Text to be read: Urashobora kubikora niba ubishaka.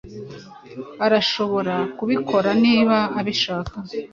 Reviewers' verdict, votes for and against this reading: rejected, 1, 2